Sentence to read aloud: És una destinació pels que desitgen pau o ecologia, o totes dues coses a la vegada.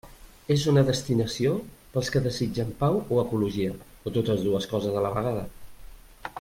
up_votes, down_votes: 3, 0